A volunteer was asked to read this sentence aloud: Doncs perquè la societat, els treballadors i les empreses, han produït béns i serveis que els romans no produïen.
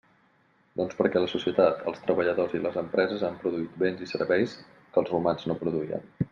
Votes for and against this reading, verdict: 3, 0, accepted